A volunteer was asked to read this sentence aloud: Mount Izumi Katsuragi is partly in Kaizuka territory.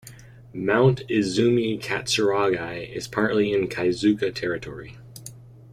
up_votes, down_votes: 1, 2